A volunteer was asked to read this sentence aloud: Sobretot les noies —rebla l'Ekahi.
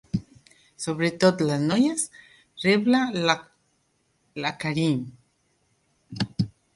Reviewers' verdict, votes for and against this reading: rejected, 0, 2